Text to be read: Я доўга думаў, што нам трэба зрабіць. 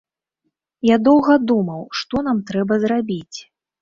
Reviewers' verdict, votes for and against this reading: accepted, 2, 0